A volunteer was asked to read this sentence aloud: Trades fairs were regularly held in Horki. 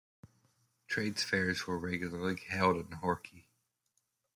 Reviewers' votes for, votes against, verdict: 2, 1, accepted